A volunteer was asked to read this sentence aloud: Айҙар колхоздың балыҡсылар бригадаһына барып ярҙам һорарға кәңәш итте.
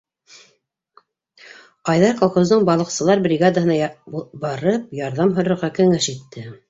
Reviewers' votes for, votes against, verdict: 0, 2, rejected